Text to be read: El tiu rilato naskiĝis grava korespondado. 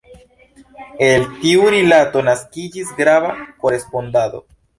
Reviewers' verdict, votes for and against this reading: accepted, 2, 0